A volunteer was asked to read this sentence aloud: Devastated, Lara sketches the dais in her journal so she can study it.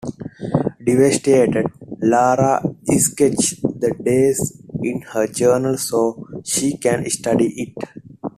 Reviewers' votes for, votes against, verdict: 2, 1, accepted